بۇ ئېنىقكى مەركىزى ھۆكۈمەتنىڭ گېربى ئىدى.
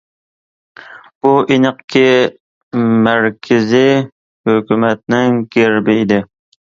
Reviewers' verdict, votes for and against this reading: accepted, 2, 1